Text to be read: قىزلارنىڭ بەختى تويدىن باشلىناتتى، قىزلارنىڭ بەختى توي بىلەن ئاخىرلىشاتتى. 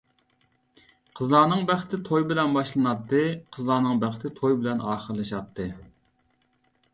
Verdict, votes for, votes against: rejected, 0, 2